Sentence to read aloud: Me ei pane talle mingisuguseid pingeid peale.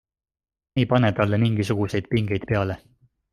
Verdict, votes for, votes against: accepted, 2, 0